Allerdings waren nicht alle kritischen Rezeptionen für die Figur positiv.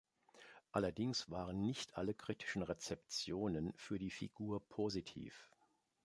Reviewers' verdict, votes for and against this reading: accepted, 3, 0